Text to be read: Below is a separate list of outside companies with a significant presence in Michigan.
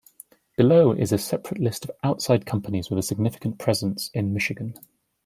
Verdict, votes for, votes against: accepted, 2, 1